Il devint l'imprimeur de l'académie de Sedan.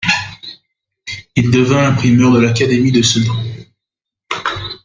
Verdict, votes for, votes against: rejected, 0, 2